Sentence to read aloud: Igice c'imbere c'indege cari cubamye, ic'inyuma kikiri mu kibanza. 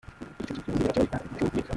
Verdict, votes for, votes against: rejected, 0, 2